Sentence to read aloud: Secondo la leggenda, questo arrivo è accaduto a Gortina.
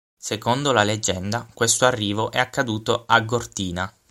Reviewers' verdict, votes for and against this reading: accepted, 6, 0